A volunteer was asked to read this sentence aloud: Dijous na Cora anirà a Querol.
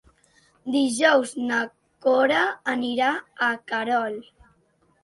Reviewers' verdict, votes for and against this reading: accepted, 2, 0